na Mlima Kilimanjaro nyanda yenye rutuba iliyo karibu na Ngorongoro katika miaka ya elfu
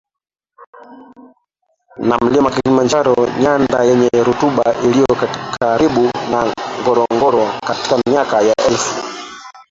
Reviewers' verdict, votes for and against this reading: rejected, 0, 2